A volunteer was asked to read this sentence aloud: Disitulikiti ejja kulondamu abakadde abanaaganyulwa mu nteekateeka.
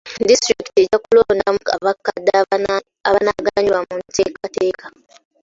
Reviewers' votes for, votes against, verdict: 2, 1, accepted